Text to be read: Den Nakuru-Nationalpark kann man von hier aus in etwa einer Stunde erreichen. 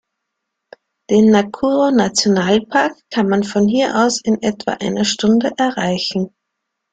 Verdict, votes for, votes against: accepted, 2, 0